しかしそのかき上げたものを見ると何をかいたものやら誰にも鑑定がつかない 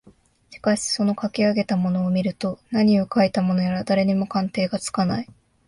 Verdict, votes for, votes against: accepted, 2, 0